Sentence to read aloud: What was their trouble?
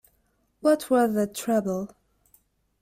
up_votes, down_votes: 0, 2